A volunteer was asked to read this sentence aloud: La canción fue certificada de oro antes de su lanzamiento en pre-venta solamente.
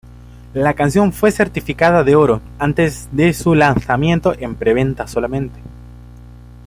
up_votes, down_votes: 1, 2